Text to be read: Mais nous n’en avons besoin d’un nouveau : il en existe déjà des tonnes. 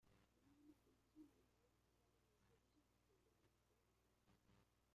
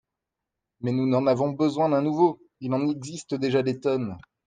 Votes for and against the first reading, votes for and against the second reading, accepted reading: 0, 2, 2, 0, second